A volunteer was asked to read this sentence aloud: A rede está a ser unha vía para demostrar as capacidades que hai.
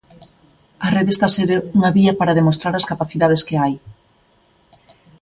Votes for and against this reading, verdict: 1, 2, rejected